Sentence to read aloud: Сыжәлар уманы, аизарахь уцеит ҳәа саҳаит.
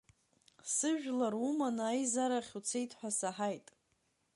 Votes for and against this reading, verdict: 1, 2, rejected